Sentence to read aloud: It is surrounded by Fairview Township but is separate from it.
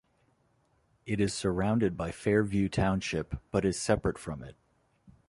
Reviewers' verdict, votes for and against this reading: accepted, 2, 0